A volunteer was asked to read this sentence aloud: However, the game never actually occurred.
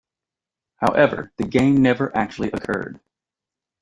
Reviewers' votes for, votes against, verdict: 2, 0, accepted